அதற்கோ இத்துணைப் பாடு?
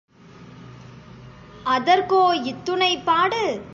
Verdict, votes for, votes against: accepted, 2, 0